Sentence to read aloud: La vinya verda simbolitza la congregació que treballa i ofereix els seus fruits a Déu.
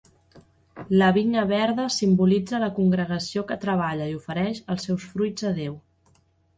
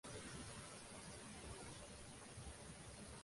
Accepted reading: first